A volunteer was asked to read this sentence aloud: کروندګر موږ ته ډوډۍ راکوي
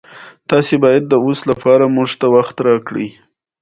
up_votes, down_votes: 2, 1